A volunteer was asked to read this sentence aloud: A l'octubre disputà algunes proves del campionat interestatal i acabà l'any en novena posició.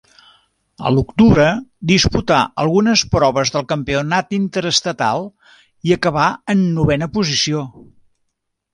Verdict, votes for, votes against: rejected, 1, 2